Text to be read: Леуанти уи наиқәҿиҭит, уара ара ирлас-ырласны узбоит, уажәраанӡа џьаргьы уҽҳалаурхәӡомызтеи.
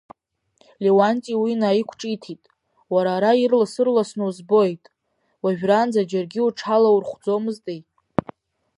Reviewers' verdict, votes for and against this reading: accepted, 3, 0